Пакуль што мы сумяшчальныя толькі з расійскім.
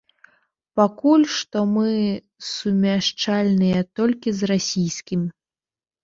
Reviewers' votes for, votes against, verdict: 1, 2, rejected